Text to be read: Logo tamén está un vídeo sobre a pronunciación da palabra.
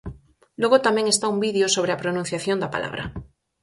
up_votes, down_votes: 4, 0